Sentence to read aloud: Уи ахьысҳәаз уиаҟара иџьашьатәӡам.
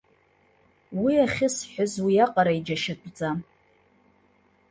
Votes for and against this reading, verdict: 1, 2, rejected